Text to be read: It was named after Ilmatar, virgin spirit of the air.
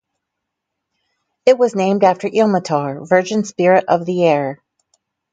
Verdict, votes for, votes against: accepted, 4, 0